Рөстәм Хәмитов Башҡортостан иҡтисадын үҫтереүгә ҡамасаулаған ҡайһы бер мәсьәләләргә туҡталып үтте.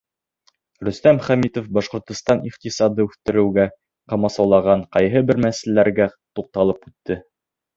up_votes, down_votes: 2, 0